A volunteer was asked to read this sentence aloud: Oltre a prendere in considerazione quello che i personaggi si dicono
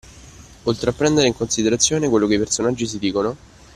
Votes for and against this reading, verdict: 2, 0, accepted